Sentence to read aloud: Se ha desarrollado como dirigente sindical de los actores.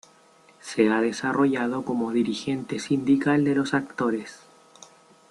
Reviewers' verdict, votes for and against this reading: accepted, 2, 0